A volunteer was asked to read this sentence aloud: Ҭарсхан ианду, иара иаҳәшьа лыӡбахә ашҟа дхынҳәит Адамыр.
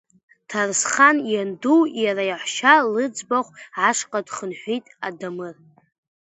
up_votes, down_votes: 2, 0